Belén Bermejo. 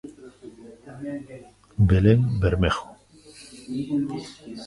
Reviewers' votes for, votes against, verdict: 1, 2, rejected